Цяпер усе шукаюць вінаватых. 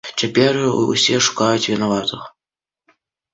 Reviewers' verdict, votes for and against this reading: accepted, 2, 0